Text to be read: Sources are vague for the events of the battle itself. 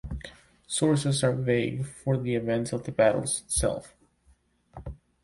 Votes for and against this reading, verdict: 2, 0, accepted